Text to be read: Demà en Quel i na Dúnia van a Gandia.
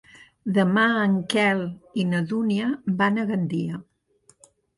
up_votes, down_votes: 2, 0